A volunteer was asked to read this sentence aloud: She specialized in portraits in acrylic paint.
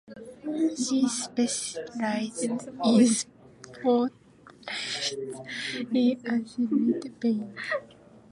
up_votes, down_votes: 0, 2